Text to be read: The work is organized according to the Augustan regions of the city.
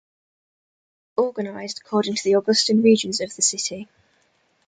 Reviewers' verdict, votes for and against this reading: rejected, 0, 2